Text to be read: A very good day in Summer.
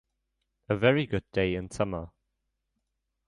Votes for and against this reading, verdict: 2, 0, accepted